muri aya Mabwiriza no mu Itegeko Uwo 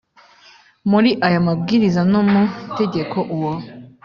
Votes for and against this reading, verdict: 2, 0, accepted